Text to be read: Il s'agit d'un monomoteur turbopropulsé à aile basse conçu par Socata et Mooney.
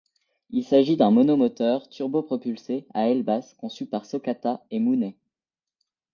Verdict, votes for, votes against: accepted, 2, 0